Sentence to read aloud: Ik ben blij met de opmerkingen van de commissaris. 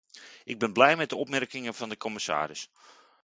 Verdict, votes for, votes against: accepted, 2, 0